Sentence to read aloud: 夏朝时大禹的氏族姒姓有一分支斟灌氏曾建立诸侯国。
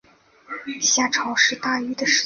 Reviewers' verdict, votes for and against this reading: rejected, 0, 2